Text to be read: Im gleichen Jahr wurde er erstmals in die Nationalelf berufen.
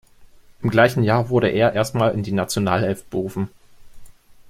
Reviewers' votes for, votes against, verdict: 0, 2, rejected